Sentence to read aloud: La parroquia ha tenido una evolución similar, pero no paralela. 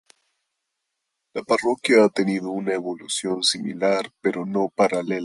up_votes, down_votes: 0, 2